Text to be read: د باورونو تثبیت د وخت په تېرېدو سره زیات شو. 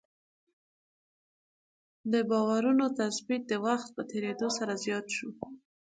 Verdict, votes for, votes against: accepted, 2, 0